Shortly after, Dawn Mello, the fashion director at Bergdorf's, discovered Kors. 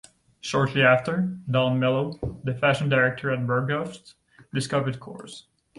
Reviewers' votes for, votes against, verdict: 0, 2, rejected